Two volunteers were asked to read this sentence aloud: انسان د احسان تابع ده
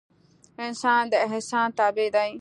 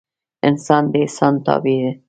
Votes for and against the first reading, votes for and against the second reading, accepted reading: 2, 0, 1, 2, first